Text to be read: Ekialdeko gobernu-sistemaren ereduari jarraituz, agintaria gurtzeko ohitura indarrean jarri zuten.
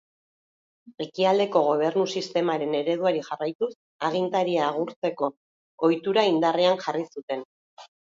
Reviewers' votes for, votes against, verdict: 1, 2, rejected